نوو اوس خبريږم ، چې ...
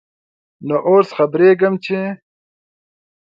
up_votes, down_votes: 2, 1